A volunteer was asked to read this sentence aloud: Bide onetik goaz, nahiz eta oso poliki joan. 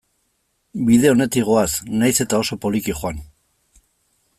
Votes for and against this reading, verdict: 2, 0, accepted